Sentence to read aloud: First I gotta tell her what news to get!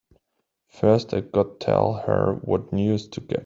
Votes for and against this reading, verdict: 0, 2, rejected